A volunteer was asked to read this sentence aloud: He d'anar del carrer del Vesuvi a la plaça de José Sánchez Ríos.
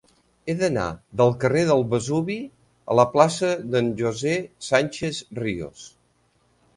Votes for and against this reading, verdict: 0, 2, rejected